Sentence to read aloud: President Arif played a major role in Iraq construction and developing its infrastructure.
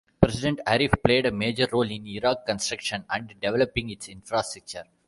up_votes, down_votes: 0, 2